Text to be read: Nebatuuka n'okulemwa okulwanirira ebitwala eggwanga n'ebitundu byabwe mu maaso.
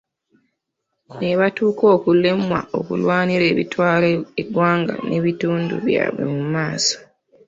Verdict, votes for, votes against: rejected, 1, 2